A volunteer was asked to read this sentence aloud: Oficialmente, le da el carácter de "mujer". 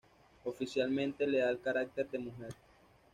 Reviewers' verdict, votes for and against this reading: accepted, 2, 0